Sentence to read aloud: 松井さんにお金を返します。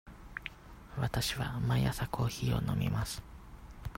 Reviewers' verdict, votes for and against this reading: rejected, 0, 2